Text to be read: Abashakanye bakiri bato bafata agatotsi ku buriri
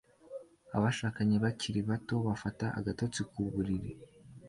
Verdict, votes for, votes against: accepted, 2, 1